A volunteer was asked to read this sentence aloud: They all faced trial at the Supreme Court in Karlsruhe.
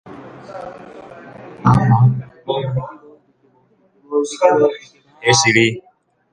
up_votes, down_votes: 0, 3